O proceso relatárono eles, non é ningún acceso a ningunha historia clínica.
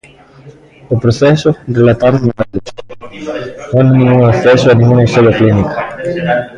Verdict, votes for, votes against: rejected, 0, 2